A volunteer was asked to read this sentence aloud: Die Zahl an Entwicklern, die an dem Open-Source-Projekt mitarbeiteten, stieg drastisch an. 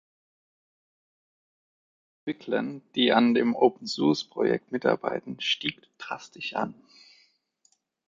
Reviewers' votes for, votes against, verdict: 0, 2, rejected